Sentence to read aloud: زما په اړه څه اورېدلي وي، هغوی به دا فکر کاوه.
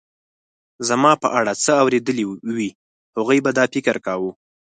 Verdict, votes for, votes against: rejected, 0, 4